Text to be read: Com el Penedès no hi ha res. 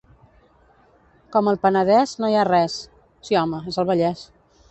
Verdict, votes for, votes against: rejected, 0, 2